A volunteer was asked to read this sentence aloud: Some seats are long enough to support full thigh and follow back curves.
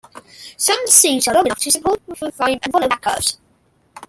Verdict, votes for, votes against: rejected, 0, 2